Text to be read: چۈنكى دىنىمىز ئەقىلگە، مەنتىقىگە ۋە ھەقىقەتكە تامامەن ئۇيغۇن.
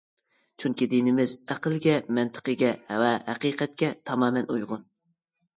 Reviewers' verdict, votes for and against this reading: accepted, 2, 0